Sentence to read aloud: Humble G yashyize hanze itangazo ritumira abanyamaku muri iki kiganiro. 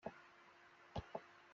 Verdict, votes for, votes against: rejected, 0, 2